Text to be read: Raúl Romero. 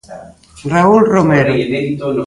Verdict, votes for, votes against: rejected, 0, 2